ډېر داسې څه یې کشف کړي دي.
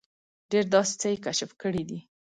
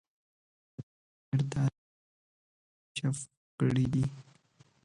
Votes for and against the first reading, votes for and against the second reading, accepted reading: 2, 0, 0, 2, first